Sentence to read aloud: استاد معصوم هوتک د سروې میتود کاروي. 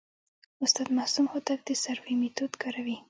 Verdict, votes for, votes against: rejected, 1, 2